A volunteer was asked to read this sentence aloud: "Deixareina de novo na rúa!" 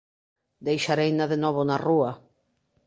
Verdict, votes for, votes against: accepted, 2, 0